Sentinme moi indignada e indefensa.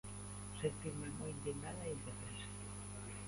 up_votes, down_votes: 0, 2